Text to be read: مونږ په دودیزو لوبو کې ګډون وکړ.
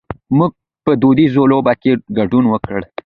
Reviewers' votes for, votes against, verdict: 2, 1, accepted